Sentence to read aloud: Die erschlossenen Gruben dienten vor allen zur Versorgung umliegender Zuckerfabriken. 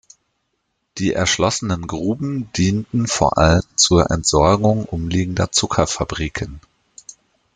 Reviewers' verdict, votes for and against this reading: rejected, 1, 2